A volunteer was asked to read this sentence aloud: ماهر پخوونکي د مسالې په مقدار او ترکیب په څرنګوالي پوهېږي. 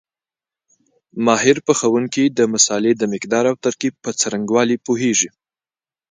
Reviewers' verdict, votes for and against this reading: accepted, 2, 0